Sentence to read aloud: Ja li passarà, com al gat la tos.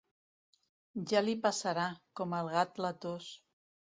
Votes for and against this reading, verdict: 2, 0, accepted